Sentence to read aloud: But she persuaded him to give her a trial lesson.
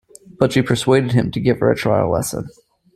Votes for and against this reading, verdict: 2, 1, accepted